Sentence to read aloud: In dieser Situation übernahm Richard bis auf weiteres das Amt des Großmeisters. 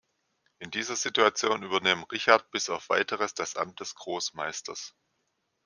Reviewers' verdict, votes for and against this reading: rejected, 1, 2